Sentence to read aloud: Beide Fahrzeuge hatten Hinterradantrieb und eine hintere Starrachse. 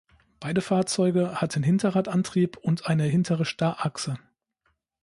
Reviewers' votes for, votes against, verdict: 2, 0, accepted